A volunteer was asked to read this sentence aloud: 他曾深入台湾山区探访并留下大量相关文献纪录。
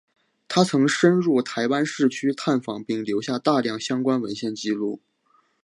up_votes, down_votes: 0, 2